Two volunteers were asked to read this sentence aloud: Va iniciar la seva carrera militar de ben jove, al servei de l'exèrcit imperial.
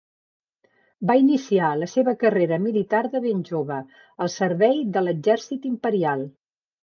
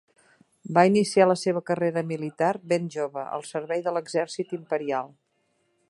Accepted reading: first